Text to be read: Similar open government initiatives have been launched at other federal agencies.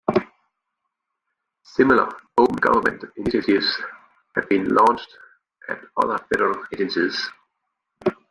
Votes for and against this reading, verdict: 1, 3, rejected